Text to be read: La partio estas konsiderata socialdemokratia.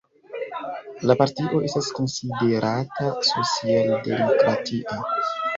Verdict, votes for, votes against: rejected, 0, 2